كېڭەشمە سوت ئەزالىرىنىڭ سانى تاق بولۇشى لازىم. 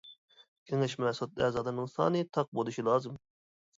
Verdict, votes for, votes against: rejected, 1, 2